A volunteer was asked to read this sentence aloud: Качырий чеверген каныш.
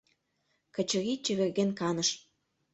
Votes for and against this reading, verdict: 0, 2, rejected